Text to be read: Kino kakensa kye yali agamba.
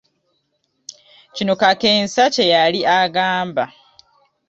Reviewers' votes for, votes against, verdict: 2, 0, accepted